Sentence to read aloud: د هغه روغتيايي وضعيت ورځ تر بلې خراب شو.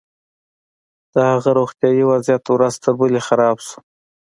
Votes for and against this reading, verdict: 2, 1, accepted